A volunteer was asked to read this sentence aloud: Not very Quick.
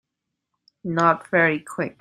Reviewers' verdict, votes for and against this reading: accepted, 2, 0